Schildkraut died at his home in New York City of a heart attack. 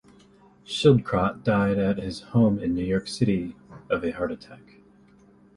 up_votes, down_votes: 2, 0